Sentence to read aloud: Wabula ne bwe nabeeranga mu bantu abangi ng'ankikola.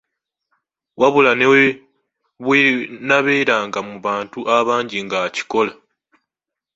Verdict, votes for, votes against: rejected, 1, 2